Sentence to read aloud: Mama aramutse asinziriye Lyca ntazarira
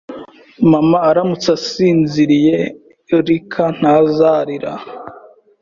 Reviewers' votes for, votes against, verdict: 3, 0, accepted